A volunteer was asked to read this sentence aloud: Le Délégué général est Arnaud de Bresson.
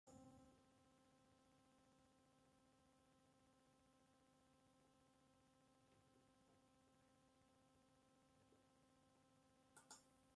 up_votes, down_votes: 0, 2